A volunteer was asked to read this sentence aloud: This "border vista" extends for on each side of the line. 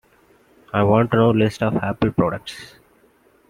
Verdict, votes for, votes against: rejected, 0, 2